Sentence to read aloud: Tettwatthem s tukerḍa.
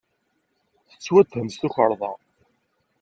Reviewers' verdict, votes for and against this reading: accepted, 2, 0